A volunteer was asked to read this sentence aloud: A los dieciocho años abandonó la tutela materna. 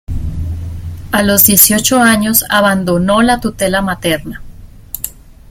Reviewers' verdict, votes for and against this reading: accepted, 2, 0